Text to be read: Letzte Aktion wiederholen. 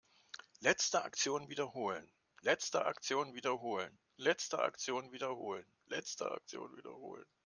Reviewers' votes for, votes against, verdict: 0, 2, rejected